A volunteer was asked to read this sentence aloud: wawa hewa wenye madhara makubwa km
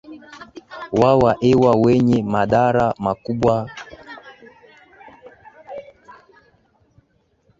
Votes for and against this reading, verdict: 0, 2, rejected